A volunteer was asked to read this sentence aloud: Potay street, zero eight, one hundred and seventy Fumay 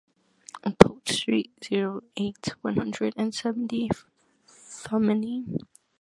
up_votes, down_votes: 1, 2